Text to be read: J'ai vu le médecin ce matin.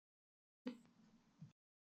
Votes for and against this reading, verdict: 1, 2, rejected